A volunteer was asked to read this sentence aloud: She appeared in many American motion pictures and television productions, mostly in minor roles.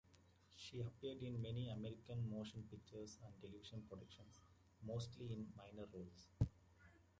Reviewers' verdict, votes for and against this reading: rejected, 1, 2